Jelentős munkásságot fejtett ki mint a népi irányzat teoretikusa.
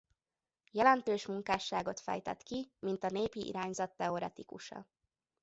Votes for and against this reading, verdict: 2, 0, accepted